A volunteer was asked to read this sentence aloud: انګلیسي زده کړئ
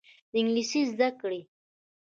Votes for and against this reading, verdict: 1, 2, rejected